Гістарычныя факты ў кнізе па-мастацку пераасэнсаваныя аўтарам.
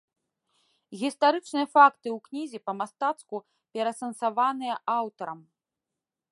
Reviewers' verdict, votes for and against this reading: accepted, 2, 0